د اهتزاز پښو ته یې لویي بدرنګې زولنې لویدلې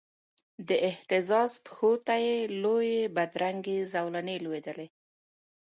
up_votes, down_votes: 1, 2